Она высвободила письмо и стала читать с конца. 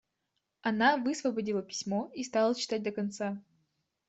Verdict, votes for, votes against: rejected, 0, 2